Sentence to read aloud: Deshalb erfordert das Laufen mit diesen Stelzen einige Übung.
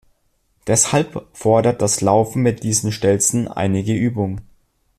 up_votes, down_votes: 0, 2